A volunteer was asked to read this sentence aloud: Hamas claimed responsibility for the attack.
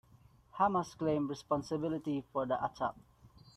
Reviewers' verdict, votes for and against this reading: accepted, 2, 0